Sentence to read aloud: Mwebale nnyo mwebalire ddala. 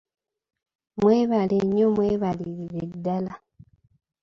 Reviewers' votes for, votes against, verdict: 1, 2, rejected